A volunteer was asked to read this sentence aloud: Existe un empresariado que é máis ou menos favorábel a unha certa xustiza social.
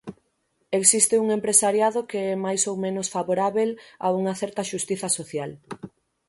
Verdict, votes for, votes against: accepted, 6, 0